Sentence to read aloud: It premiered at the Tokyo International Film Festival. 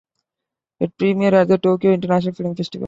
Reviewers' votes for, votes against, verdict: 2, 1, accepted